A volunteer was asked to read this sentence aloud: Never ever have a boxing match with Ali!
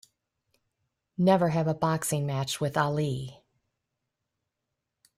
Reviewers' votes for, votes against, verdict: 1, 2, rejected